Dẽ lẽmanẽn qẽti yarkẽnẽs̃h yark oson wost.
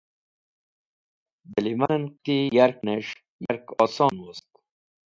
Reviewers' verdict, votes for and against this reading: rejected, 0, 2